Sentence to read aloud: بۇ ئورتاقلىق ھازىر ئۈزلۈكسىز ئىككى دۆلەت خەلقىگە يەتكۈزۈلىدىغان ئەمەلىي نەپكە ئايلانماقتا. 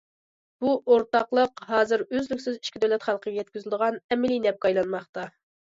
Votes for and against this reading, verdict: 2, 0, accepted